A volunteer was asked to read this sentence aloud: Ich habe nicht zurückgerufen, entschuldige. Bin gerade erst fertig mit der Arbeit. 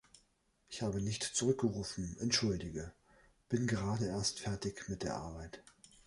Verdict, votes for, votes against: accepted, 3, 0